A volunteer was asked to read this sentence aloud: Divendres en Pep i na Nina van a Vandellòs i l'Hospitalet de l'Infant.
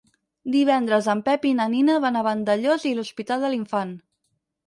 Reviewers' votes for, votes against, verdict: 2, 4, rejected